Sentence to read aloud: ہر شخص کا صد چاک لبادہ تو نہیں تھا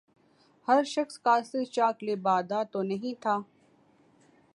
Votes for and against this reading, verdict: 2, 0, accepted